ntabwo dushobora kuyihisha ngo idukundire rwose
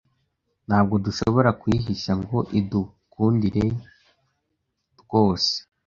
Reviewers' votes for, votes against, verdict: 2, 0, accepted